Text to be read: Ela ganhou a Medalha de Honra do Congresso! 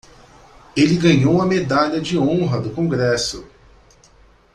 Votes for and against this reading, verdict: 1, 2, rejected